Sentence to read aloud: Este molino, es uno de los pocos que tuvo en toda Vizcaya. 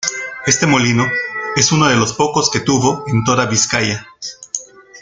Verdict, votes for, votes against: rejected, 1, 2